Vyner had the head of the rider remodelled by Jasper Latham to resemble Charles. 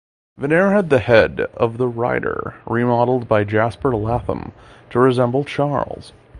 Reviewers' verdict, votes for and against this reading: accepted, 2, 0